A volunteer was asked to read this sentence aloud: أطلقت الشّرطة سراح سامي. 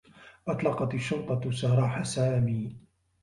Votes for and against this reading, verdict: 2, 1, accepted